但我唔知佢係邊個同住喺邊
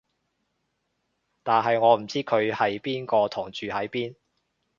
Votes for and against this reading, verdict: 0, 2, rejected